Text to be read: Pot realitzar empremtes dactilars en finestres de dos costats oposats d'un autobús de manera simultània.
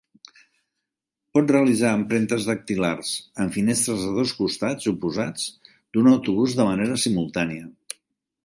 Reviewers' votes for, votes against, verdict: 2, 0, accepted